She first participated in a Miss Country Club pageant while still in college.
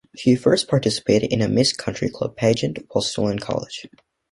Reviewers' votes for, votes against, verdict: 2, 0, accepted